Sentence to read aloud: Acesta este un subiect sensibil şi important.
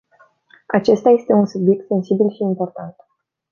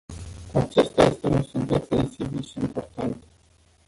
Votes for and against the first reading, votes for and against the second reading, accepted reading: 2, 0, 0, 2, first